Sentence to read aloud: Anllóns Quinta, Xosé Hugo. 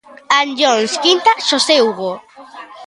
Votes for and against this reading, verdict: 1, 2, rejected